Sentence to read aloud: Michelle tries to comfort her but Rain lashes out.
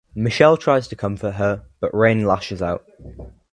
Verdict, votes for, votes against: accepted, 2, 0